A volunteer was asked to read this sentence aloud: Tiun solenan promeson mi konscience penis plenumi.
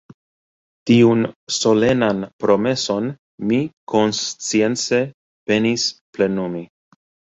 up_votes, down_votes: 1, 2